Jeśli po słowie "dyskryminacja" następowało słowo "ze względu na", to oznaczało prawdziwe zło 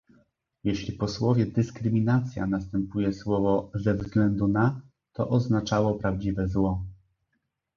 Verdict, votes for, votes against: rejected, 0, 2